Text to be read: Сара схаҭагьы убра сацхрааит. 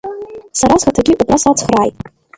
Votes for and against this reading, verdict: 1, 2, rejected